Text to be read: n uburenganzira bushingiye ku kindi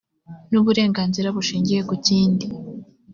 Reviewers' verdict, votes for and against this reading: accepted, 2, 0